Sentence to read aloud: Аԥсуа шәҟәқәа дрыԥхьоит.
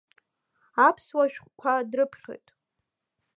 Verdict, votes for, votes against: accepted, 2, 0